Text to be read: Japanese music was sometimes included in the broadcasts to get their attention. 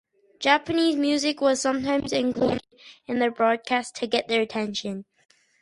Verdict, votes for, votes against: rejected, 0, 2